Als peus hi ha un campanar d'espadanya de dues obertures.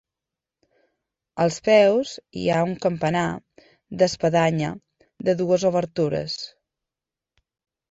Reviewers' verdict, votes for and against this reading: accepted, 2, 0